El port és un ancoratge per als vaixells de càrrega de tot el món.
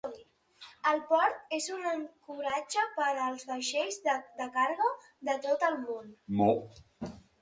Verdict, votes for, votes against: rejected, 0, 2